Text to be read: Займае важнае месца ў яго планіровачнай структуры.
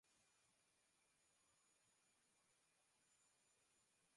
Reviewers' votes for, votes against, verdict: 0, 2, rejected